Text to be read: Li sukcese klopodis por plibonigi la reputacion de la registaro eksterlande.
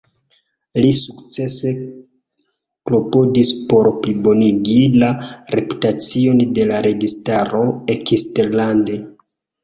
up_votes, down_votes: 2, 1